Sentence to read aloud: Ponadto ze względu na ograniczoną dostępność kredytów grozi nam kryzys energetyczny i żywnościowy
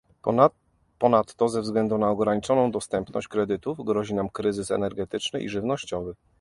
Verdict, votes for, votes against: rejected, 1, 2